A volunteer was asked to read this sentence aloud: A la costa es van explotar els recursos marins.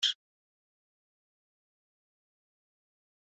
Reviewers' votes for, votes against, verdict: 0, 3, rejected